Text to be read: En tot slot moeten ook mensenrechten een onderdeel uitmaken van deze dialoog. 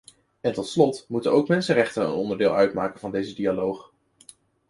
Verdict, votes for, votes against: accepted, 2, 0